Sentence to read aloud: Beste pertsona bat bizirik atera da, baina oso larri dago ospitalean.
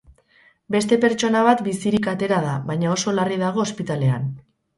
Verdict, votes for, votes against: accepted, 2, 0